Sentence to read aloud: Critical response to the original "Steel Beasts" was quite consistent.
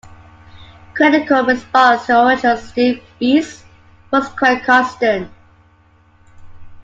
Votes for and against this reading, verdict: 2, 1, accepted